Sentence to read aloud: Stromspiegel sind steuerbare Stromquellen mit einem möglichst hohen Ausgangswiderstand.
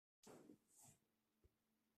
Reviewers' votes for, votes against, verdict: 0, 2, rejected